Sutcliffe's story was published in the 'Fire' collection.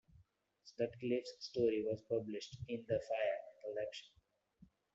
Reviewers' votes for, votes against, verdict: 0, 2, rejected